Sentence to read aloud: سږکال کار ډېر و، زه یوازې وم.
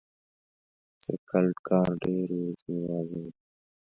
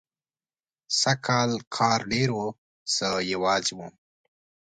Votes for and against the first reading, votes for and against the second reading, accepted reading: 1, 2, 2, 0, second